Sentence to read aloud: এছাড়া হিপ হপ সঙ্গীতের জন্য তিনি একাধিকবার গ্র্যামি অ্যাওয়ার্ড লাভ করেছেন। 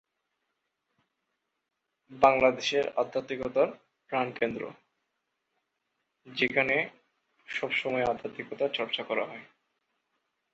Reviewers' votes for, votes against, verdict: 0, 2, rejected